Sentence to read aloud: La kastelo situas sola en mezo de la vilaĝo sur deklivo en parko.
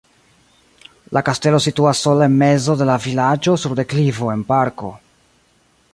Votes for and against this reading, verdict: 0, 2, rejected